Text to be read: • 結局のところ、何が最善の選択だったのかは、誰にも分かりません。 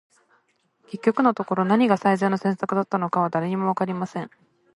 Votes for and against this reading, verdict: 2, 0, accepted